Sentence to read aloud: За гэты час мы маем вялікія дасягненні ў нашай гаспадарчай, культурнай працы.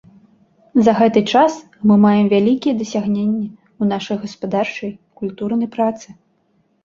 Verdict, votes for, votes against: accepted, 2, 0